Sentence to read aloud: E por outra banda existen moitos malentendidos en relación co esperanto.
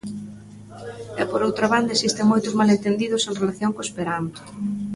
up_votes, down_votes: 0, 2